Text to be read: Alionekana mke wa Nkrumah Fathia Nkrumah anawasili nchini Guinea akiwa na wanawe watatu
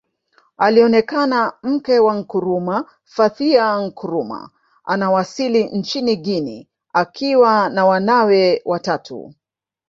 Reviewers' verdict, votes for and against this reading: rejected, 1, 2